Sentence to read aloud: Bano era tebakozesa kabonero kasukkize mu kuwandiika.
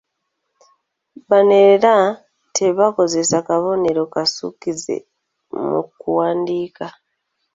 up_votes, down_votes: 2, 0